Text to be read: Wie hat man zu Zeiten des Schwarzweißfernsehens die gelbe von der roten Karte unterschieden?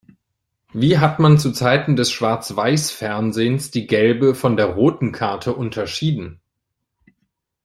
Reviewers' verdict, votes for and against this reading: accepted, 2, 0